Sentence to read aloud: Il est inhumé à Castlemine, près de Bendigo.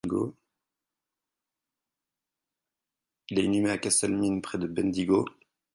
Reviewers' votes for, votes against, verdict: 0, 4, rejected